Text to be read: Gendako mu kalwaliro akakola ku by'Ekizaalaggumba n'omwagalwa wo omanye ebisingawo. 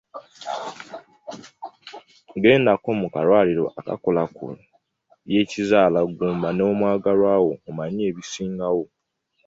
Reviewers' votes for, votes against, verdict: 2, 0, accepted